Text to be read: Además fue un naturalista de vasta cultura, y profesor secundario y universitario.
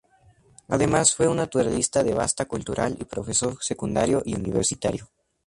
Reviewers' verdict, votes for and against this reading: rejected, 0, 2